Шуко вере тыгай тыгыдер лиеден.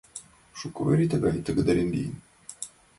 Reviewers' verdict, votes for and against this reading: accepted, 2, 1